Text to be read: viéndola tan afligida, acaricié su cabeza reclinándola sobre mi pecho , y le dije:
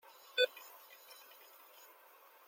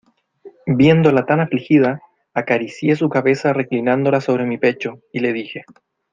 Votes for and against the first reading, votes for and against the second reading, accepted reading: 0, 2, 2, 0, second